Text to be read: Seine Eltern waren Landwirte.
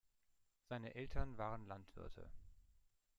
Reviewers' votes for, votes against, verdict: 1, 2, rejected